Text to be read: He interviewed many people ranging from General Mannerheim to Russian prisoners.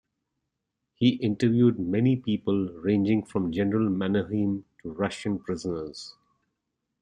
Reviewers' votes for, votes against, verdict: 2, 0, accepted